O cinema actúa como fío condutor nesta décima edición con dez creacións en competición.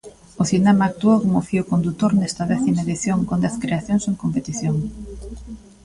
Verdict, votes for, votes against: rejected, 0, 2